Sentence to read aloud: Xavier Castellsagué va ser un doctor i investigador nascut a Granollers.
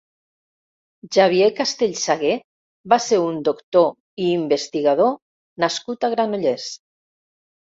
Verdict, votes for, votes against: accepted, 2, 0